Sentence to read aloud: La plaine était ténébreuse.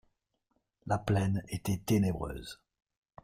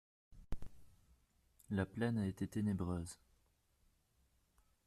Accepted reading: first